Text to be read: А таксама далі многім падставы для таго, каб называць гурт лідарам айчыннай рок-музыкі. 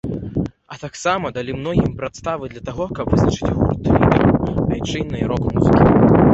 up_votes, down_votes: 0, 2